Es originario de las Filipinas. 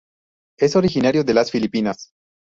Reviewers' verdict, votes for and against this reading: rejected, 0, 2